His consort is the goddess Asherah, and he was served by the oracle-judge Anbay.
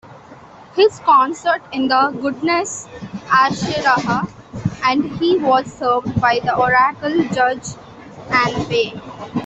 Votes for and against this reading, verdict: 1, 2, rejected